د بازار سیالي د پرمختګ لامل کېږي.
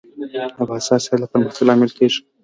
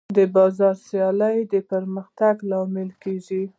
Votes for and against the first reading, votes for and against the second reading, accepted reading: 2, 1, 0, 2, first